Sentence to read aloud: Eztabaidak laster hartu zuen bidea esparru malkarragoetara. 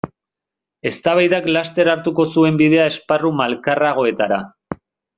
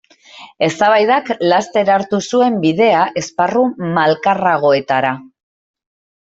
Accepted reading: second